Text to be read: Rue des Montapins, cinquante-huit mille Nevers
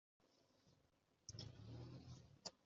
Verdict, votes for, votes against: rejected, 0, 3